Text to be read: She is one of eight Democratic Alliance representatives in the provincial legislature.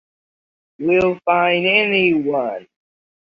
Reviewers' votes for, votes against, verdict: 1, 2, rejected